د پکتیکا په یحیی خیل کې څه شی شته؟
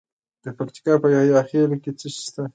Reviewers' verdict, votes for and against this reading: accepted, 2, 0